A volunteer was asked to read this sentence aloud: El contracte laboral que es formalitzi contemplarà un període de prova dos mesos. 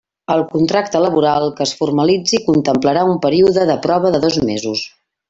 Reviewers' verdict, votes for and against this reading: accepted, 2, 0